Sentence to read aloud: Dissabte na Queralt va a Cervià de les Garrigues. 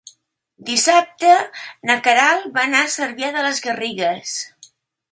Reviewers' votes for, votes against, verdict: 0, 2, rejected